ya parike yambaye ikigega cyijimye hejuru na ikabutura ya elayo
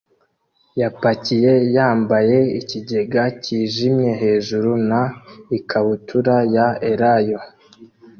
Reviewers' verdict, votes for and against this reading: rejected, 0, 2